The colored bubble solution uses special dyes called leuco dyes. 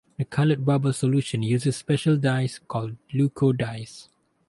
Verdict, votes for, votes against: accepted, 2, 0